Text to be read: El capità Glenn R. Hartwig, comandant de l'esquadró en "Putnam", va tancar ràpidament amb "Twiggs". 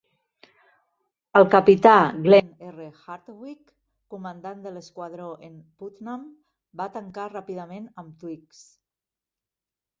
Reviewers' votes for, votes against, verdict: 1, 2, rejected